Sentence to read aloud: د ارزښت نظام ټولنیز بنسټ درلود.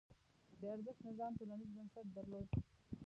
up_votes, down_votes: 0, 2